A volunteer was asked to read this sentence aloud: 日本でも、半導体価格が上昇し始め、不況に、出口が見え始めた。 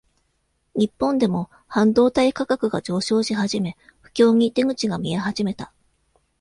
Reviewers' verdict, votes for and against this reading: accepted, 2, 0